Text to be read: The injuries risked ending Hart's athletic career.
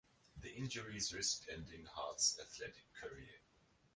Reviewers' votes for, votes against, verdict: 2, 0, accepted